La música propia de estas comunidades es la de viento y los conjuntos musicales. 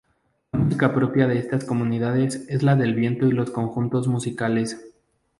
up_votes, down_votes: 0, 2